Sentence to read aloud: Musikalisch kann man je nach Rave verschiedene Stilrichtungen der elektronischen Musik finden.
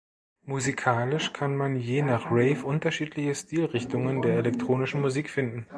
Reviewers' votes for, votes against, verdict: 0, 2, rejected